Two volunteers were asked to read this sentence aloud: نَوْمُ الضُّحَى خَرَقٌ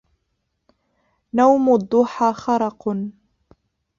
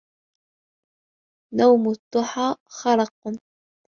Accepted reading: second